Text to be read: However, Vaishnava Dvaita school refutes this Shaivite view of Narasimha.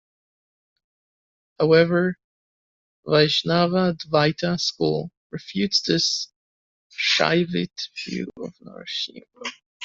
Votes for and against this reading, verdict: 1, 2, rejected